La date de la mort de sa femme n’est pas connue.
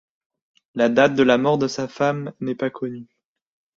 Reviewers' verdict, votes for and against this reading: accepted, 2, 0